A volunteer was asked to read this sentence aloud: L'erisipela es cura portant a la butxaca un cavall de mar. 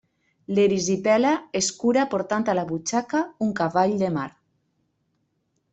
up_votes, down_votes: 2, 0